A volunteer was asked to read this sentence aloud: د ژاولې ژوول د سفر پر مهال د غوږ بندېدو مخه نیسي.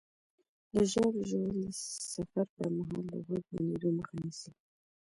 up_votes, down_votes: 2, 1